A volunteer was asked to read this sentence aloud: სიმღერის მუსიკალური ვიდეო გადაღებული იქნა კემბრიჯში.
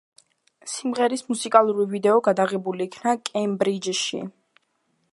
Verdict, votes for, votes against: accepted, 2, 0